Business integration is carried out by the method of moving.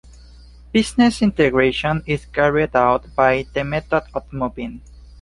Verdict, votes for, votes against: accepted, 2, 1